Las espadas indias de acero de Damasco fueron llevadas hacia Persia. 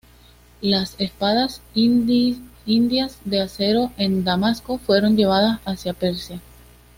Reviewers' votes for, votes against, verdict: 2, 0, accepted